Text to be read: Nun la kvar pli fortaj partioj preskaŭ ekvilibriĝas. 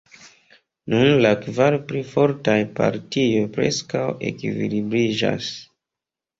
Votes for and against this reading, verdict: 1, 2, rejected